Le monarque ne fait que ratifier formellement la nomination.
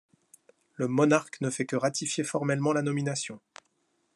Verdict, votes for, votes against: accepted, 2, 0